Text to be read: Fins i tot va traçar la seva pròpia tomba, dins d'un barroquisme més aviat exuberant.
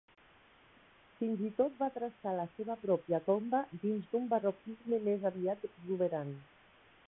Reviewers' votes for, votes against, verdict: 1, 2, rejected